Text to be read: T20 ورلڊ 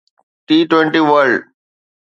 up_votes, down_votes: 0, 2